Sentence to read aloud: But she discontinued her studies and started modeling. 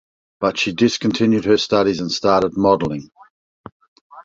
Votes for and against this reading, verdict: 2, 0, accepted